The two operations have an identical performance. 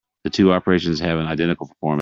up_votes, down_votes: 1, 2